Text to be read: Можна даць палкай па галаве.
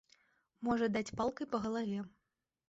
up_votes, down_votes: 1, 2